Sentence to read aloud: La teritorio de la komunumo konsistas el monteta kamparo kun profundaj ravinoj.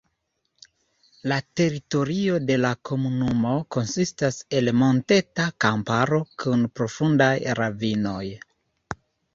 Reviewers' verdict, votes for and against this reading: accepted, 2, 0